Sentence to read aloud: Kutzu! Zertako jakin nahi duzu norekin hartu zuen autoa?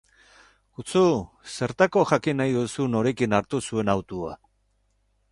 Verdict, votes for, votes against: accepted, 4, 2